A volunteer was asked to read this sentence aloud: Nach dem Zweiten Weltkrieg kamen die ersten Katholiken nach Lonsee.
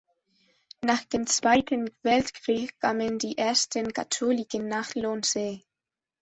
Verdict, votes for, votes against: accepted, 2, 1